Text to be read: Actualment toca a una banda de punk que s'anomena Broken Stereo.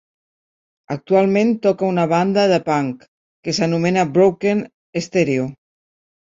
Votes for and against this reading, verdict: 2, 0, accepted